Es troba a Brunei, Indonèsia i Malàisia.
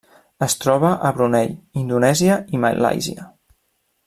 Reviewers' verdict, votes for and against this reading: accepted, 2, 0